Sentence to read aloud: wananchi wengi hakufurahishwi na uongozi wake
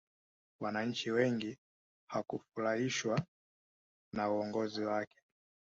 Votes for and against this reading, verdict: 2, 0, accepted